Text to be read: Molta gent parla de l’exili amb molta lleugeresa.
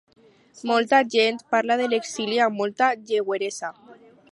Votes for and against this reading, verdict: 0, 6, rejected